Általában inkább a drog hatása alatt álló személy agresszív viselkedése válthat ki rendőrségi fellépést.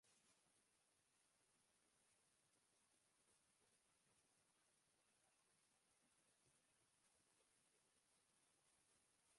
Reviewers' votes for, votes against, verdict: 0, 2, rejected